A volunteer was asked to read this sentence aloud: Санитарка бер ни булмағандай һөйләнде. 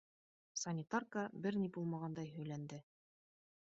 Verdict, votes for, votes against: rejected, 1, 2